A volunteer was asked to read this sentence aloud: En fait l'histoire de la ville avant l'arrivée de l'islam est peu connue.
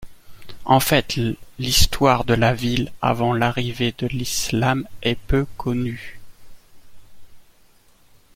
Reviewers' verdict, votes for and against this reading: accepted, 2, 0